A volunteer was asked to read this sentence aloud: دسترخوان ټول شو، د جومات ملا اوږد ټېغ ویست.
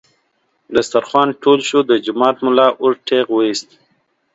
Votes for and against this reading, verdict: 2, 0, accepted